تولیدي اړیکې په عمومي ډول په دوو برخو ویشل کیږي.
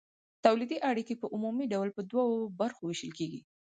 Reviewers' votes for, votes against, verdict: 4, 0, accepted